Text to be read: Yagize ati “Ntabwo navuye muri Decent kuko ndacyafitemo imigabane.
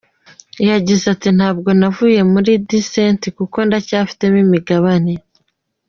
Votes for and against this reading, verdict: 2, 1, accepted